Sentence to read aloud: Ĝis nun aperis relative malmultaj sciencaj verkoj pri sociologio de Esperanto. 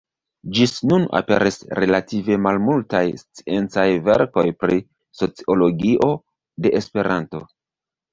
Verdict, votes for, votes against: rejected, 0, 2